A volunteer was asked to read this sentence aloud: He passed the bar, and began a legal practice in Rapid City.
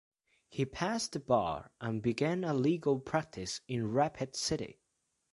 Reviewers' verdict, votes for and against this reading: accepted, 2, 0